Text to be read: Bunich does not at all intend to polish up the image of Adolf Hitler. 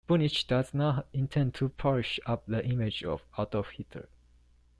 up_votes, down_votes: 1, 2